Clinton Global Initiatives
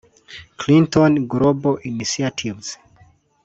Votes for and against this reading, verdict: 1, 2, rejected